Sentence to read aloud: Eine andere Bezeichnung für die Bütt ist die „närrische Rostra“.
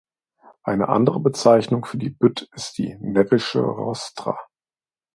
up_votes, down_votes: 1, 2